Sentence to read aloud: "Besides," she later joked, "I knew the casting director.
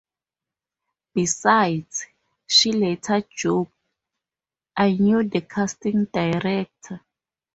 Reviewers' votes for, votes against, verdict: 0, 2, rejected